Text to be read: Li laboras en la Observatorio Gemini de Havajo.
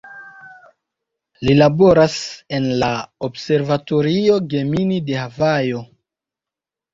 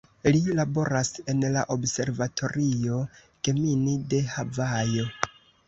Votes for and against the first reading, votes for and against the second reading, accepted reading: 0, 3, 2, 1, second